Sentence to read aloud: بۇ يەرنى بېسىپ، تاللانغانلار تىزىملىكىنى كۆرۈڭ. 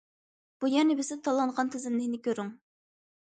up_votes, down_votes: 0, 2